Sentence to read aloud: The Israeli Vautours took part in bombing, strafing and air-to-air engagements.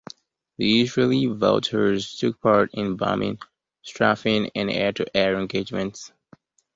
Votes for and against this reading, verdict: 1, 2, rejected